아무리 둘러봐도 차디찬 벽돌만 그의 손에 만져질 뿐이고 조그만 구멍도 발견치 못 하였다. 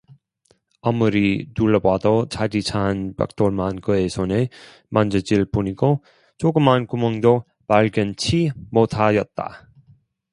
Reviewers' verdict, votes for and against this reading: rejected, 0, 2